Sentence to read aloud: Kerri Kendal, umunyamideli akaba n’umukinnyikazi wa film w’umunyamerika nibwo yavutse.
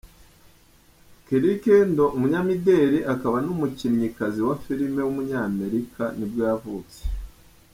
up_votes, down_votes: 1, 2